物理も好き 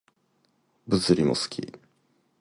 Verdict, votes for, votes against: accepted, 2, 0